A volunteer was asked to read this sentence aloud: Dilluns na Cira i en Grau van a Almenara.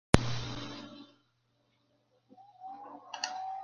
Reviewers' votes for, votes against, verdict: 0, 2, rejected